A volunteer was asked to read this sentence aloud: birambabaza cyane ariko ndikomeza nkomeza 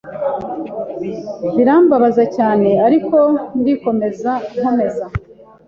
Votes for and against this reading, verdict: 3, 0, accepted